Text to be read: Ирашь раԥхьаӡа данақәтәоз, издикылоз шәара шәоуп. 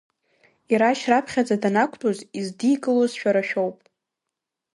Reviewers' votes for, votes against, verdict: 2, 0, accepted